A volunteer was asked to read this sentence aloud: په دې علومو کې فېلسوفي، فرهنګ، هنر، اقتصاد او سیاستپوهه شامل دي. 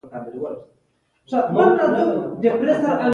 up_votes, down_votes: 2, 0